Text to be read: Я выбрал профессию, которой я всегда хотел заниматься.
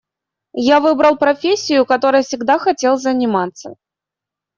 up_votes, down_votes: 1, 2